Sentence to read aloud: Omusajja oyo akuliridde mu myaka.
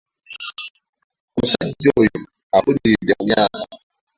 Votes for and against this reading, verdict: 2, 0, accepted